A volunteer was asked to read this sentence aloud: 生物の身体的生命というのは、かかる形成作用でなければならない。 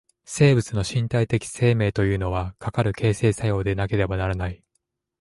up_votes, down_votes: 2, 0